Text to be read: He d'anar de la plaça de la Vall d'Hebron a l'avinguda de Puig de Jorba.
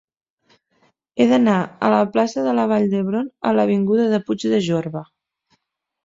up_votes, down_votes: 1, 2